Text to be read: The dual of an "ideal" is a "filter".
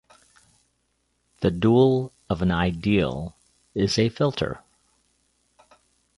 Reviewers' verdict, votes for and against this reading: accepted, 2, 1